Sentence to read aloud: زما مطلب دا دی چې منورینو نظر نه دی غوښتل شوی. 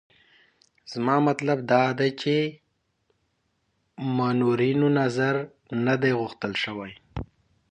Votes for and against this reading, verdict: 2, 0, accepted